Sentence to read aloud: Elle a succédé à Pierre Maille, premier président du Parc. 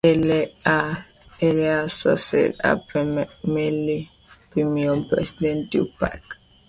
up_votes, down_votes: 0, 2